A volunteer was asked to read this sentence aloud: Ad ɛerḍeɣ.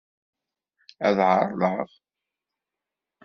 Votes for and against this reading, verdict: 2, 0, accepted